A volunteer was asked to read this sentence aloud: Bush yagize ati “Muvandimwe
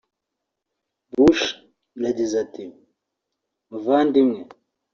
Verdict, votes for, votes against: accepted, 2, 0